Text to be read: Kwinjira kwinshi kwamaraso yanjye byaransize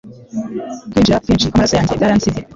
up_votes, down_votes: 2, 1